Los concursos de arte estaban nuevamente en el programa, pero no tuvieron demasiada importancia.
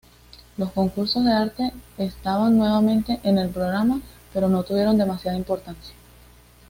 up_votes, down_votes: 2, 0